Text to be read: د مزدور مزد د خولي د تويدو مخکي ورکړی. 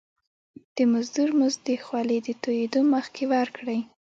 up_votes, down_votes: 0, 2